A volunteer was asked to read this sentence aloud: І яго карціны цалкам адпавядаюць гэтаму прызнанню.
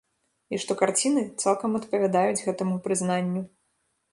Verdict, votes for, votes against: rejected, 1, 2